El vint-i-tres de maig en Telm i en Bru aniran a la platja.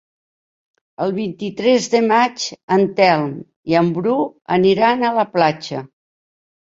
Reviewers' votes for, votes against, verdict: 3, 0, accepted